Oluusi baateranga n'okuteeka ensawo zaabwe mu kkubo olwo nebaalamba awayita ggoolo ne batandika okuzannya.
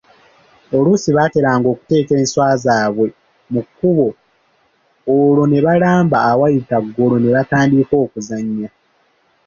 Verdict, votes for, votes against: rejected, 1, 2